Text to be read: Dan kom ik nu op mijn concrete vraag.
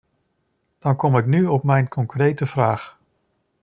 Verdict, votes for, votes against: accepted, 2, 0